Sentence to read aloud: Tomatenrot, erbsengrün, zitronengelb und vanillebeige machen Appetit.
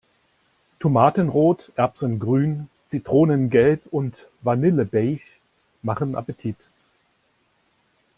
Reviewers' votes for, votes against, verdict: 2, 0, accepted